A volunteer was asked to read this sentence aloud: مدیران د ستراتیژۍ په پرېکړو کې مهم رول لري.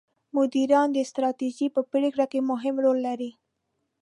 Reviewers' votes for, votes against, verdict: 1, 2, rejected